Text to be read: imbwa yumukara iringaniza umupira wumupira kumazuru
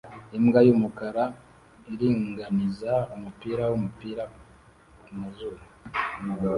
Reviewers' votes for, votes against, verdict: 1, 2, rejected